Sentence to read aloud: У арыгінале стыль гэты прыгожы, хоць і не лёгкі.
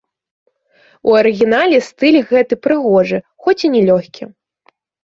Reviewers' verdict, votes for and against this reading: rejected, 1, 2